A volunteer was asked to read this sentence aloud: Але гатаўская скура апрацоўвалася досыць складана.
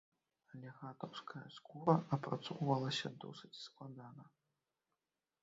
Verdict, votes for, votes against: rejected, 2, 3